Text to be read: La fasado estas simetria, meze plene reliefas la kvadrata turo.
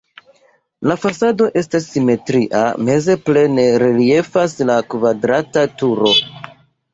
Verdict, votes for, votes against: rejected, 0, 2